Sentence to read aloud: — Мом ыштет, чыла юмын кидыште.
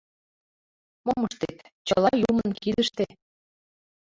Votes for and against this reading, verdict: 1, 2, rejected